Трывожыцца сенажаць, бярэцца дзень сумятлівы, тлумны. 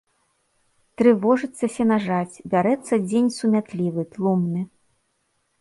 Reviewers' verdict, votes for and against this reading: accepted, 2, 0